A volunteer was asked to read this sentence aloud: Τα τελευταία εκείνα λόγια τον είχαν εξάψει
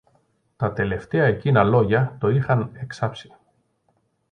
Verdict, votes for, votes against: rejected, 0, 2